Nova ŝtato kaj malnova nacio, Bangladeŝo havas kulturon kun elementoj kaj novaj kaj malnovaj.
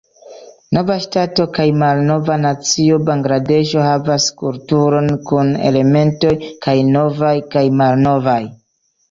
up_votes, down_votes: 2, 0